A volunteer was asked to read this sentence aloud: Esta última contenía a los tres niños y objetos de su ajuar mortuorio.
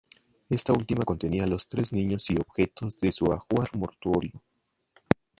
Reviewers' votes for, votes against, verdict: 2, 1, accepted